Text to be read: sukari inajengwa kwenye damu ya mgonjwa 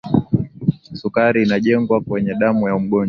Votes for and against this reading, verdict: 2, 0, accepted